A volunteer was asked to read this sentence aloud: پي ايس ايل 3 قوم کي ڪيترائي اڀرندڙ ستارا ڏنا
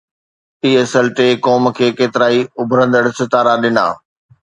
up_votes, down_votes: 0, 2